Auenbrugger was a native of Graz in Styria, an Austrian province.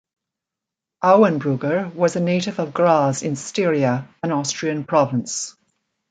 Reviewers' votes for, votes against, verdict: 2, 1, accepted